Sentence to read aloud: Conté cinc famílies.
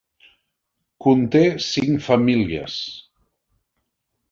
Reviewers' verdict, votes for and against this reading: accepted, 2, 0